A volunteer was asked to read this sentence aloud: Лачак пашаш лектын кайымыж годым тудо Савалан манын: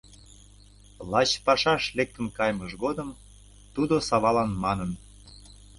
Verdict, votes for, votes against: rejected, 1, 2